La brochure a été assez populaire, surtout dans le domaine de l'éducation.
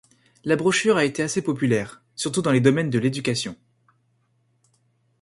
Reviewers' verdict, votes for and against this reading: rejected, 1, 2